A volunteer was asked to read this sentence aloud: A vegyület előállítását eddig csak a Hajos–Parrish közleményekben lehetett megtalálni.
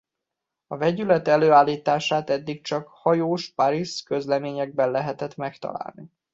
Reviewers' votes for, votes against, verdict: 1, 2, rejected